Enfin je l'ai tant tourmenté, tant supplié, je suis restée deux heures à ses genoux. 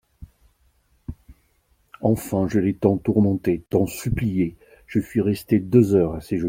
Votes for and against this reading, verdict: 2, 0, accepted